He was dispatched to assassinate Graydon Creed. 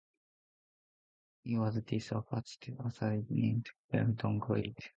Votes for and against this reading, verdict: 0, 2, rejected